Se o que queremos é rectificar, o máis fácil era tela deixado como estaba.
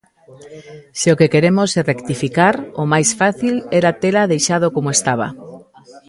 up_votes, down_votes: 1, 2